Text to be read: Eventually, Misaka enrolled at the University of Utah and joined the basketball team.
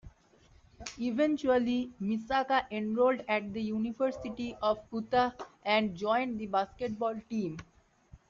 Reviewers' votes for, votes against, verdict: 1, 2, rejected